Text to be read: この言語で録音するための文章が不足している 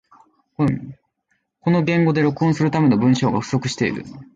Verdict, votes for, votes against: accepted, 2, 0